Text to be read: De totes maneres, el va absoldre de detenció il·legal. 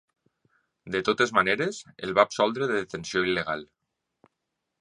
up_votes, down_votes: 2, 0